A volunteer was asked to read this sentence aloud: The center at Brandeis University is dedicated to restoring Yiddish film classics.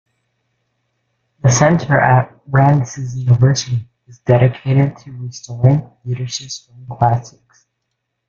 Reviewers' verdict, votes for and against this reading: rejected, 1, 2